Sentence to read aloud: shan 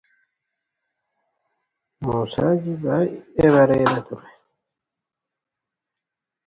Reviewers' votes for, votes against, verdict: 0, 2, rejected